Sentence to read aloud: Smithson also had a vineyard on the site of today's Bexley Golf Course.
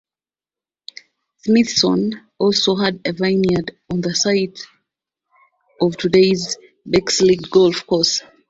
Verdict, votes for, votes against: rejected, 1, 2